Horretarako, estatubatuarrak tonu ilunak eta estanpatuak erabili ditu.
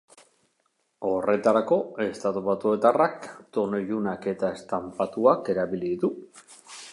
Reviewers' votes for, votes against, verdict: 0, 2, rejected